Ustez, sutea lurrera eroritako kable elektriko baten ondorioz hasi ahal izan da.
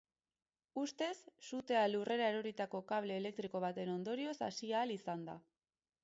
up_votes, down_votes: 0, 2